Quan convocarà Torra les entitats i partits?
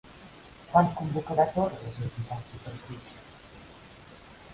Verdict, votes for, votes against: accepted, 3, 1